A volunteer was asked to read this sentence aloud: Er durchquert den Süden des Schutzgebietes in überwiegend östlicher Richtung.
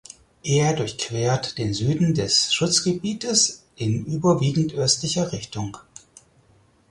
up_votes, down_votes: 4, 0